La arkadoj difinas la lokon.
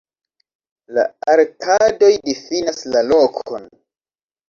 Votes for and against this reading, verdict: 1, 2, rejected